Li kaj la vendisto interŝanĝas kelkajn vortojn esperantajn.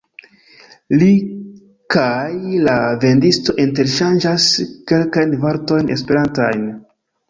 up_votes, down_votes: 1, 2